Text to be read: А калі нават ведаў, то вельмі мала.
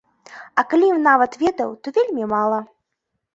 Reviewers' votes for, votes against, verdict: 1, 2, rejected